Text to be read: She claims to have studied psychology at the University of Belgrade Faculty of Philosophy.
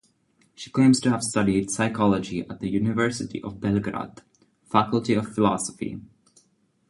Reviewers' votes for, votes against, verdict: 2, 0, accepted